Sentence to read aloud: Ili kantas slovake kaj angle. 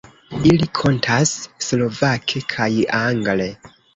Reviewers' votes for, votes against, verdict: 2, 1, accepted